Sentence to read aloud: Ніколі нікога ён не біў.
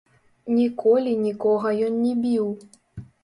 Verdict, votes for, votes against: rejected, 0, 3